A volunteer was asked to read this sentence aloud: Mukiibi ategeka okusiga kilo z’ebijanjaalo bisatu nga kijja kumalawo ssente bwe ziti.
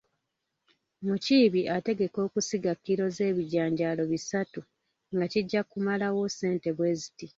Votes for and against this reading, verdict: 1, 2, rejected